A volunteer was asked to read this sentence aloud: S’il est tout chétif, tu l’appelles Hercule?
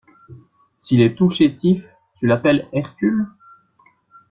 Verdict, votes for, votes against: accepted, 2, 0